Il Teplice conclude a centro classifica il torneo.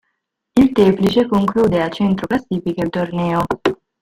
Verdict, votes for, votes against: rejected, 0, 2